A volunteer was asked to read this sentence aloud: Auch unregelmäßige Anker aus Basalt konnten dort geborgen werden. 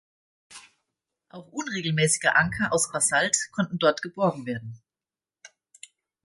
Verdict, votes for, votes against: rejected, 1, 2